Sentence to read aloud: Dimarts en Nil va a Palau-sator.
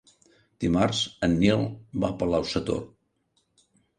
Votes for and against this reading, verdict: 4, 0, accepted